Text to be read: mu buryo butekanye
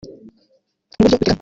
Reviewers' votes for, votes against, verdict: 0, 2, rejected